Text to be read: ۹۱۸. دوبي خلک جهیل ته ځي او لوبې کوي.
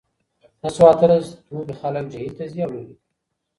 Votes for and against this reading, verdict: 0, 2, rejected